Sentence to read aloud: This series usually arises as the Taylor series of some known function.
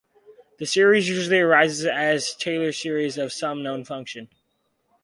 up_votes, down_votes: 4, 0